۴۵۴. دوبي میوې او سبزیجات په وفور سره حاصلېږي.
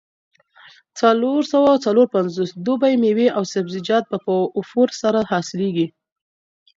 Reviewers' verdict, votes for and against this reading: rejected, 0, 2